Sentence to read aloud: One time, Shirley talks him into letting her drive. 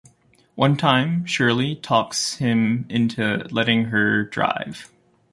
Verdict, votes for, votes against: accepted, 2, 0